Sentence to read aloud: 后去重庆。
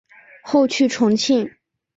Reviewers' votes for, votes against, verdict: 2, 0, accepted